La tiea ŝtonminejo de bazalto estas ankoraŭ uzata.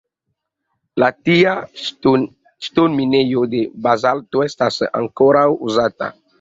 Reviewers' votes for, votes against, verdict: 1, 2, rejected